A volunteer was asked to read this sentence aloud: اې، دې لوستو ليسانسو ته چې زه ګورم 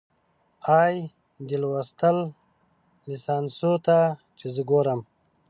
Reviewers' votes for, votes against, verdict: 1, 4, rejected